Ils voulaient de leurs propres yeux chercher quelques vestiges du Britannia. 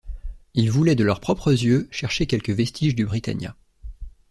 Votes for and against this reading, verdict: 2, 0, accepted